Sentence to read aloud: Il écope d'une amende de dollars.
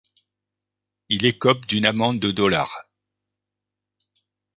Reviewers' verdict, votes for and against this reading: accepted, 2, 0